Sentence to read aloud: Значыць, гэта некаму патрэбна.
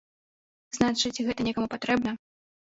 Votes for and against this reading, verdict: 1, 2, rejected